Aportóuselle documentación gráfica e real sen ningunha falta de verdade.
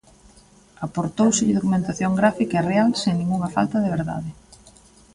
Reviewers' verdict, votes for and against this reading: rejected, 0, 2